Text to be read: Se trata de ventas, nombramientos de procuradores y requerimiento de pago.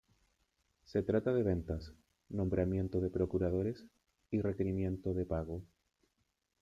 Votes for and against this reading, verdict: 1, 2, rejected